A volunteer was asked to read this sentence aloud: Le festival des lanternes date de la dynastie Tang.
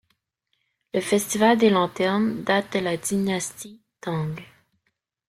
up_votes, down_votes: 1, 2